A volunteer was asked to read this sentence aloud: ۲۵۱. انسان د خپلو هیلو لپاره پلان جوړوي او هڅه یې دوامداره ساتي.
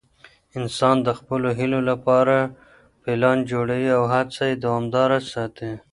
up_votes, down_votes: 0, 2